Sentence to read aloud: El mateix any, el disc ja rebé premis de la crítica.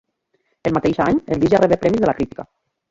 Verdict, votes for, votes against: rejected, 0, 2